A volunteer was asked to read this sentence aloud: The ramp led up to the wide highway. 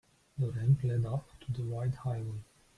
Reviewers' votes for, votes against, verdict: 1, 2, rejected